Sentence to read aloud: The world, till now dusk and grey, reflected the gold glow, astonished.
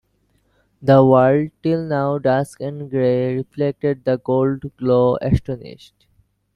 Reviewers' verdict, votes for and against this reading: rejected, 1, 2